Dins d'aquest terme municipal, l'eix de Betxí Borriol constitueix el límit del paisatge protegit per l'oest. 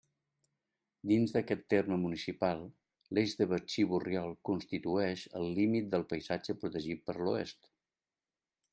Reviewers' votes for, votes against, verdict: 2, 0, accepted